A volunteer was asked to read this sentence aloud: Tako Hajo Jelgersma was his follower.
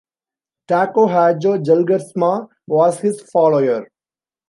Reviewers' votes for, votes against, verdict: 1, 2, rejected